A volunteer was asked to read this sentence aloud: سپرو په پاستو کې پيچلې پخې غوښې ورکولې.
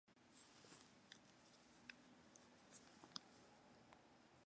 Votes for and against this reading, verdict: 0, 2, rejected